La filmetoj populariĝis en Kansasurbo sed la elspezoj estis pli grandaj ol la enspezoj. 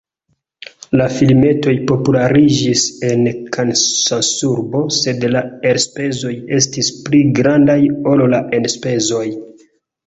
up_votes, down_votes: 0, 2